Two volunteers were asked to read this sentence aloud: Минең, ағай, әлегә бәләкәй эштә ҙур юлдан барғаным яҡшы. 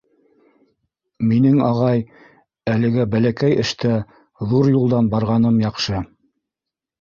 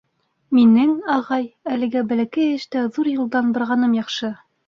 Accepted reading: second